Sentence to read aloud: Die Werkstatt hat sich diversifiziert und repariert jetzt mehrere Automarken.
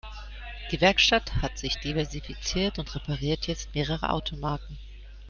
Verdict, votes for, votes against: accepted, 2, 0